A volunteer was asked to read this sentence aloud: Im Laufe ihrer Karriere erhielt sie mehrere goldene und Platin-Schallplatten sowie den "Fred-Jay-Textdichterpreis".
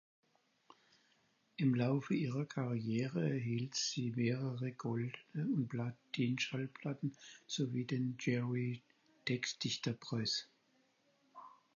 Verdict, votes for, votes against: rejected, 0, 4